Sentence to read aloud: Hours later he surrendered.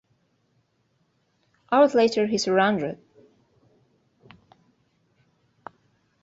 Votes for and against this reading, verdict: 2, 3, rejected